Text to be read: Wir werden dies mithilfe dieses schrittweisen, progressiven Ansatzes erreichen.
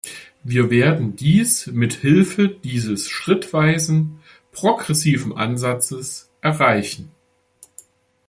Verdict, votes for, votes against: accepted, 2, 1